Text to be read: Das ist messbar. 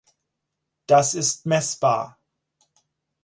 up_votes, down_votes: 4, 0